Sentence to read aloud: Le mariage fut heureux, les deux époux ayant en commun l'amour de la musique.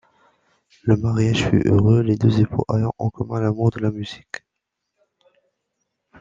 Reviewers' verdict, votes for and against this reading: accepted, 2, 1